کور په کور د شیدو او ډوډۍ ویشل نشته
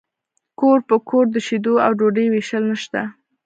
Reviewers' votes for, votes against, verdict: 0, 2, rejected